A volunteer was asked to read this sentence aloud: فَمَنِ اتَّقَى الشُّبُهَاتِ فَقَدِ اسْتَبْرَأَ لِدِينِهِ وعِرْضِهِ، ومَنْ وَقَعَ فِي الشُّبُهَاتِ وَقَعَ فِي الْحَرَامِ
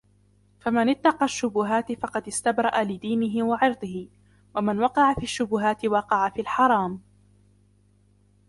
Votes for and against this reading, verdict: 1, 2, rejected